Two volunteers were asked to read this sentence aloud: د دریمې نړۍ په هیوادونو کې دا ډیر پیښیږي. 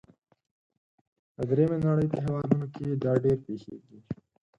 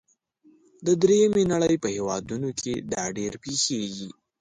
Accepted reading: second